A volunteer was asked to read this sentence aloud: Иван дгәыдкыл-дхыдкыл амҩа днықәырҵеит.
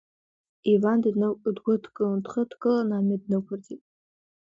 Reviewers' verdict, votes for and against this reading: rejected, 0, 2